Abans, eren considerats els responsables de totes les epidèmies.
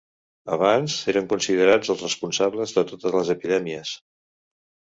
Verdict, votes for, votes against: accepted, 2, 0